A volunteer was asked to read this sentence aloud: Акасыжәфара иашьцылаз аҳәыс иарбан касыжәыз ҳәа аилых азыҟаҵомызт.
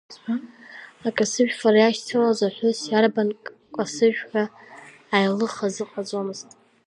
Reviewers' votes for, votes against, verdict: 2, 1, accepted